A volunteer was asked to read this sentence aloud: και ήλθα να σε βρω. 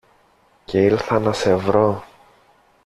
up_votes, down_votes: 2, 0